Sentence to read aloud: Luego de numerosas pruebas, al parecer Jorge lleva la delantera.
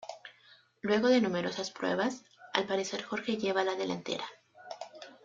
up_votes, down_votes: 2, 0